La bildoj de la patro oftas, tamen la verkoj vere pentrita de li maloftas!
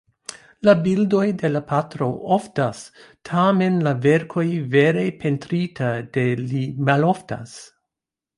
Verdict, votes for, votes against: rejected, 0, 2